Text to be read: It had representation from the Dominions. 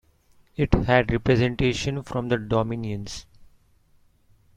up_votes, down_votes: 0, 2